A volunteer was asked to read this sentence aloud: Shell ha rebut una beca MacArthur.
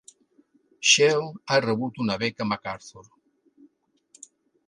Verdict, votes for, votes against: accepted, 3, 0